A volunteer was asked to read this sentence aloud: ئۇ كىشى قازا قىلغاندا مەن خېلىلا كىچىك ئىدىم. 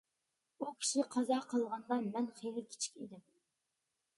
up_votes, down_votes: 0, 2